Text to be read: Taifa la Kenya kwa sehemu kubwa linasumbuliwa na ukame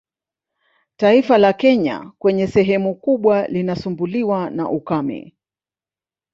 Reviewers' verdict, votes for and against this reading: rejected, 0, 2